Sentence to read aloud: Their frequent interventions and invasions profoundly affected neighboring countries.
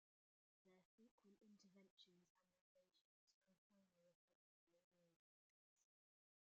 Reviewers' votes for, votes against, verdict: 0, 2, rejected